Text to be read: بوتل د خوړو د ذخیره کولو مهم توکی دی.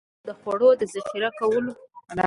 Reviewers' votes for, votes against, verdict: 0, 2, rejected